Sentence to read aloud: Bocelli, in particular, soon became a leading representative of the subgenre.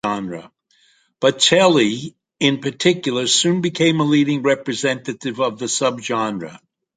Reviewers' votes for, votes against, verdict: 2, 0, accepted